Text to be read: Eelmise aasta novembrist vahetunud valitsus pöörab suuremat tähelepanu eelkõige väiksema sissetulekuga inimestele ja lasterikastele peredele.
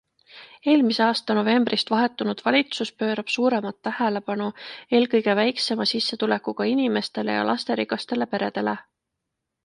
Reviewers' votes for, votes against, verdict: 2, 0, accepted